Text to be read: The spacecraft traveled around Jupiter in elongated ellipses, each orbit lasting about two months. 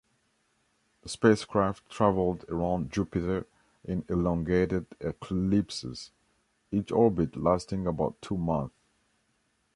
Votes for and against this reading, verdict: 2, 1, accepted